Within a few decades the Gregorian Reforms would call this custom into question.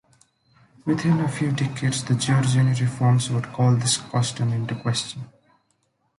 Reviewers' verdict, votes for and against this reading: rejected, 1, 2